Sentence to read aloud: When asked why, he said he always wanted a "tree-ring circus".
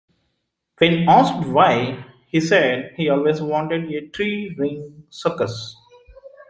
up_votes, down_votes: 2, 1